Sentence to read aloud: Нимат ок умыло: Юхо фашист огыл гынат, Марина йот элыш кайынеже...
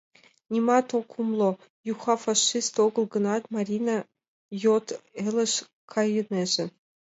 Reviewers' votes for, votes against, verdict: 2, 1, accepted